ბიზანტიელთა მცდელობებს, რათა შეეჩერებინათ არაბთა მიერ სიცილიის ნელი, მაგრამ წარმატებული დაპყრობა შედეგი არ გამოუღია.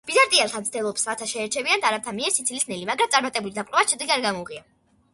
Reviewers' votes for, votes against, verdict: 2, 0, accepted